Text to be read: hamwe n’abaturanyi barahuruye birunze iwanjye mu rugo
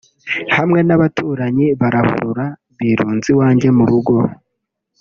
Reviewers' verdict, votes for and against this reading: rejected, 0, 2